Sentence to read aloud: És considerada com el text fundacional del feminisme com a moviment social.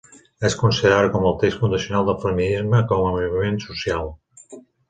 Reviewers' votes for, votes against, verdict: 1, 2, rejected